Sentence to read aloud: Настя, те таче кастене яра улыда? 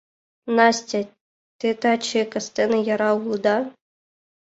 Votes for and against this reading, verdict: 2, 1, accepted